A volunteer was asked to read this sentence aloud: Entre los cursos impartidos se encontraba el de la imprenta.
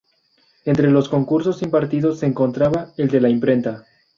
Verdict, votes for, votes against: rejected, 2, 2